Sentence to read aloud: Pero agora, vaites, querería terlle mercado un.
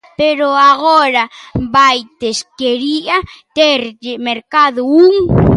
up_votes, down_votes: 0, 2